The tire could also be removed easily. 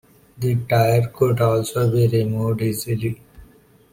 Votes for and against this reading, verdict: 2, 0, accepted